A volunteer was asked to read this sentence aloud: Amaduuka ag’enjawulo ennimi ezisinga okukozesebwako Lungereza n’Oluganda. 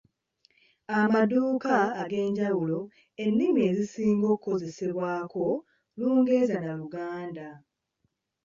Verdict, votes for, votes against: rejected, 1, 2